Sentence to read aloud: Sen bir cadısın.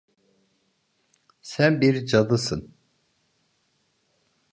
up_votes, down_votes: 2, 0